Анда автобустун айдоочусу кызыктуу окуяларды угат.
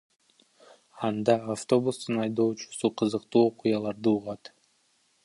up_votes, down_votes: 2, 1